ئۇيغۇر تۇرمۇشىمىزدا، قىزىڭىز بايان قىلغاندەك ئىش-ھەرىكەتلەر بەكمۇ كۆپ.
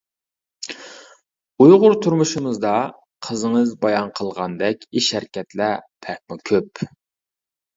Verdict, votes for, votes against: rejected, 1, 2